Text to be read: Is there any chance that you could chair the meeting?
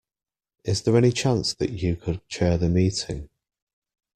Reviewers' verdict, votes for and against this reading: accepted, 2, 0